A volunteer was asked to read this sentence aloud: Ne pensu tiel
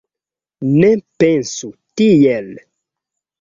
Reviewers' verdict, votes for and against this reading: accepted, 2, 0